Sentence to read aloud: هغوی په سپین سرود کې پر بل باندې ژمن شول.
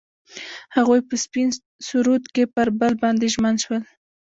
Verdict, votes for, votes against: rejected, 1, 2